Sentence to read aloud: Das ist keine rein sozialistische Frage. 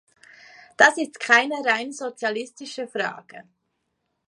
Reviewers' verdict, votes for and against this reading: accepted, 2, 0